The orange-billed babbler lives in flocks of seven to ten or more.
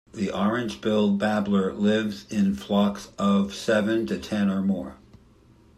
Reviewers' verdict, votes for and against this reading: accepted, 2, 0